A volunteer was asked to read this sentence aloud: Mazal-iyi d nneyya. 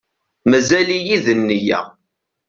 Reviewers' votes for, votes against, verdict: 2, 0, accepted